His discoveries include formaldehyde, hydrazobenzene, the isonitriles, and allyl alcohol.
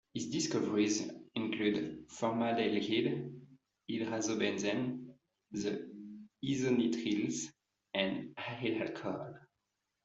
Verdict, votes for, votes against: rejected, 0, 3